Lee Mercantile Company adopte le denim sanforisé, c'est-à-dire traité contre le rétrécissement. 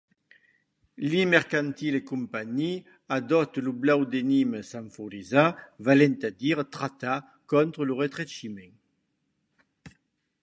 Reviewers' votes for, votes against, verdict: 0, 2, rejected